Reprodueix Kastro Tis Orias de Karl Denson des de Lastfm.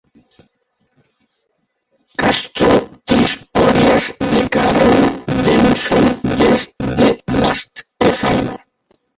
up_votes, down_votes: 0, 2